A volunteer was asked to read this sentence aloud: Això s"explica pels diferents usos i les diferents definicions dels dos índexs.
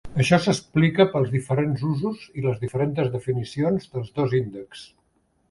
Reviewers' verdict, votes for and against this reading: rejected, 1, 2